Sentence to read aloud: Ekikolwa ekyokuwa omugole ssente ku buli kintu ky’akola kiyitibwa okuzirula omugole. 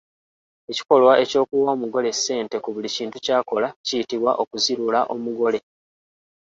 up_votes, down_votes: 2, 0